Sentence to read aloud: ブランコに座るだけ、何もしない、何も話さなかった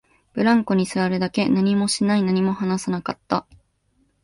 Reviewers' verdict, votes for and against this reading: accepted, 2, 0